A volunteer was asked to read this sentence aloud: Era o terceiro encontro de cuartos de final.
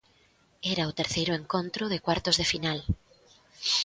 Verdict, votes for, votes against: accepted, 2, 0